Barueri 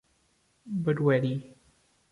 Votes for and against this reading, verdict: 2, 1, accepted